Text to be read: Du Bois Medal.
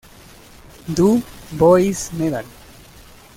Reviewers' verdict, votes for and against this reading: rejected, 1, 2